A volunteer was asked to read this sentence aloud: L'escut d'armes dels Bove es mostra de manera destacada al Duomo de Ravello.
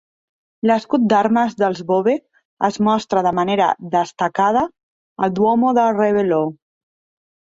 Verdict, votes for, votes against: rejected, 0, 2